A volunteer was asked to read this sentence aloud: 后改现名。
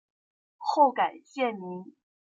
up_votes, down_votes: 2, 0